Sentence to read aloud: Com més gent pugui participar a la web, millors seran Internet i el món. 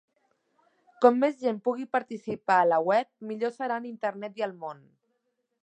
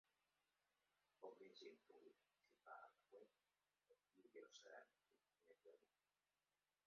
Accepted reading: first